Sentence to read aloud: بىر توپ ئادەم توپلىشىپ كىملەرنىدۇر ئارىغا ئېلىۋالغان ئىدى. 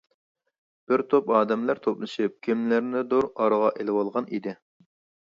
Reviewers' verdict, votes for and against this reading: rejected, 0, 2